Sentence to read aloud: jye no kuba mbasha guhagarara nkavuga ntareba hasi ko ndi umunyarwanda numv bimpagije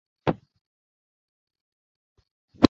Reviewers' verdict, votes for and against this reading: rejected, 0, 2